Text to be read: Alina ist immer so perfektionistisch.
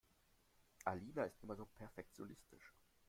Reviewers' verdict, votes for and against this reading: rejected, 1, 2